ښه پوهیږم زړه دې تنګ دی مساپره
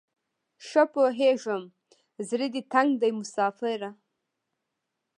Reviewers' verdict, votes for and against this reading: rejected, 0, 2